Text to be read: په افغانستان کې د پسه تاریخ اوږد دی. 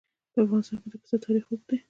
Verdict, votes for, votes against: rejected, 0, 2